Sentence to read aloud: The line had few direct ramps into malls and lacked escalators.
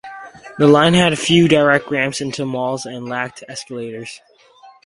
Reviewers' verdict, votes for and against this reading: accepted, 4, 0